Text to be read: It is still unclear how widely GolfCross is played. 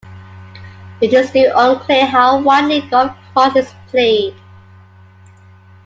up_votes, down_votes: 2, 1